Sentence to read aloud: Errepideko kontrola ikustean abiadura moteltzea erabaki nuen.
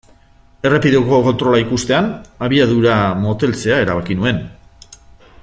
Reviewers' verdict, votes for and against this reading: accepted, 2, 0